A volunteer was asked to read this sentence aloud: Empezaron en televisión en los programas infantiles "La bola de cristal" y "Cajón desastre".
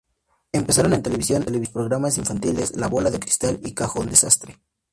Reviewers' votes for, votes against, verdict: 2, 2, rejected